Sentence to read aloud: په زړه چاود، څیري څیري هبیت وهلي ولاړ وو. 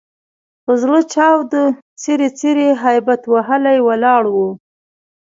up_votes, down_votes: 2, 0